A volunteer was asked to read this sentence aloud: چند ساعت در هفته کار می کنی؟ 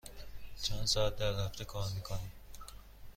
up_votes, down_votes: 2, 0